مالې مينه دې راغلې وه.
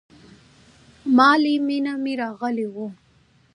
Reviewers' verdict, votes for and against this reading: accepted, 2, 0